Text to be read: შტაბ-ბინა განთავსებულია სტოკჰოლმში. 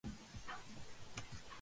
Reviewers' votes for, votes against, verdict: 0, 2, rejected